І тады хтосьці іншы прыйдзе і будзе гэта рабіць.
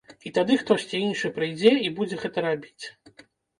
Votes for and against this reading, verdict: 2, 3, rejected